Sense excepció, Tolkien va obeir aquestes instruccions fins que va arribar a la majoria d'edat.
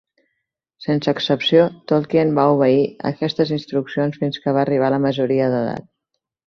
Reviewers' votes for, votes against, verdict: 3, 0, accepted